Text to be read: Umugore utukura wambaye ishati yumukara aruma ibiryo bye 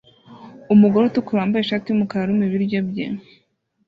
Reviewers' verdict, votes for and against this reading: accepted, 2, 0